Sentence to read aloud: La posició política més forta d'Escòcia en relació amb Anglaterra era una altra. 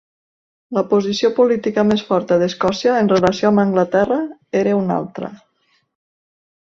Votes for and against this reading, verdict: 2, 1, accepted